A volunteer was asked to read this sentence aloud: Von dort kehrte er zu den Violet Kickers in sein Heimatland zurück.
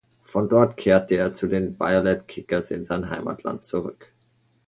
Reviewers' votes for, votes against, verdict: 2, 0, accepted